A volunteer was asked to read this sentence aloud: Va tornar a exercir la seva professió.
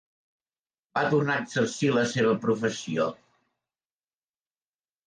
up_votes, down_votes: 2, 0